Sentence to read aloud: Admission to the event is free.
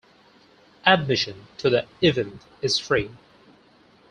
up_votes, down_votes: 2, 2